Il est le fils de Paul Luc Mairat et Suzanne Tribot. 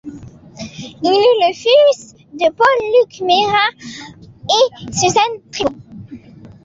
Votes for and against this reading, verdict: 0, 2, rejected